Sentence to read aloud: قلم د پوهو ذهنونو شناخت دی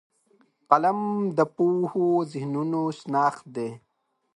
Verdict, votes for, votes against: accepted, 3, 0